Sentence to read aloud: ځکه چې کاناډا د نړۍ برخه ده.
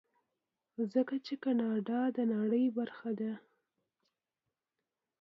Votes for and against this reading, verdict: 2, 0, accepted